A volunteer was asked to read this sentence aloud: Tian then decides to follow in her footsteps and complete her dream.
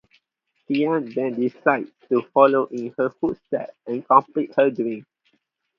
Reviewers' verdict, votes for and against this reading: accepted, 2, 0